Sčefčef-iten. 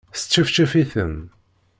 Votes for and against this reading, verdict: 2, 0, accepted